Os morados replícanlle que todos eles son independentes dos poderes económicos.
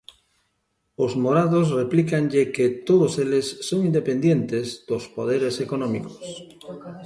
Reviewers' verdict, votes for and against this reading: rejected, 0, 2